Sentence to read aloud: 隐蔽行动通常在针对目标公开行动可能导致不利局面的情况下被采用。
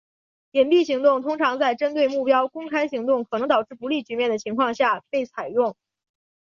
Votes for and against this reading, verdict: 3, 1, accepted